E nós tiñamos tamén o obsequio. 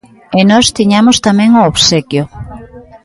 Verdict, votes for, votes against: rejected, 1, 2